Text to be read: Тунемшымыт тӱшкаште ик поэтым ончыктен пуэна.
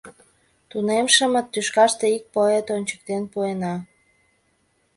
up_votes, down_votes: 1, 2